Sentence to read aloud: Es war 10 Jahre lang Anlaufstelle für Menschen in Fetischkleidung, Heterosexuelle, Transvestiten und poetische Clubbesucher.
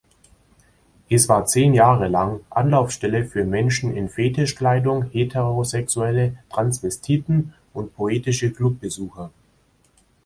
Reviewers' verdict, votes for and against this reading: rejected, 0, 2